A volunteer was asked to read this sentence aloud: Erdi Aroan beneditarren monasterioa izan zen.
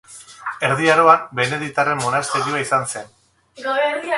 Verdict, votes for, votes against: rejected, 0, 2